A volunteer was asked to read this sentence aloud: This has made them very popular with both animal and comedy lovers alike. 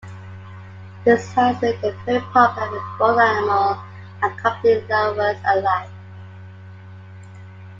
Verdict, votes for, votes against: accepted, 2, 0